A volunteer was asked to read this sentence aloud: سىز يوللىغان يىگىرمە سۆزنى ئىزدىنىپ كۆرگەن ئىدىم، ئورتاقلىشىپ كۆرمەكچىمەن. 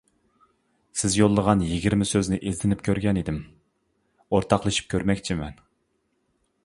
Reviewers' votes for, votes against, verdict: 2, 0, accepted